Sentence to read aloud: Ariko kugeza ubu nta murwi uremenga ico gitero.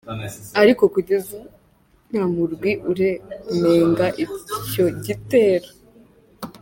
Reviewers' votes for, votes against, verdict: 0, 3, rejected